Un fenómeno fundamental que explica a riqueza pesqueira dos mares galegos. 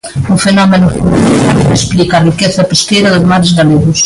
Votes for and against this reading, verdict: 0, 2, rejected